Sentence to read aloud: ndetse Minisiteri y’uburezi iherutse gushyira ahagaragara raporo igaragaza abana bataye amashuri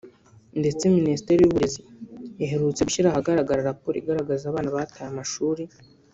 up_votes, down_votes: 2, 0